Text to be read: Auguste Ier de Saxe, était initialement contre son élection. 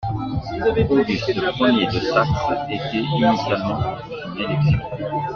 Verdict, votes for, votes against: rejected, 0, 2